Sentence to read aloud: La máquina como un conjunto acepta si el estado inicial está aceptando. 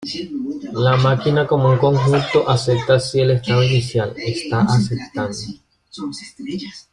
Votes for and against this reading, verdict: 1, 2, rejected